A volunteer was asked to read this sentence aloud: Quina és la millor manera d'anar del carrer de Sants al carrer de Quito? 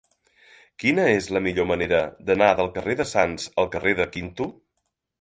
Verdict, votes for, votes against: rejected, 0, 2